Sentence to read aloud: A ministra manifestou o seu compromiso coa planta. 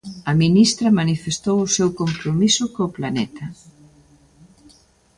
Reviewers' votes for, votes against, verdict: 0, 2, rejected